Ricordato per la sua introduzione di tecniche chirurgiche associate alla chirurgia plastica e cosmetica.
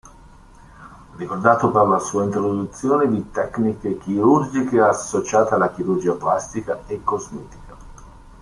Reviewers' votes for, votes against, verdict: 2, 0, accepted